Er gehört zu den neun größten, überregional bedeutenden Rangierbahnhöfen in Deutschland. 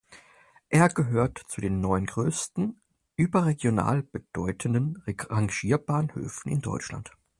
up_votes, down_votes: 0, 4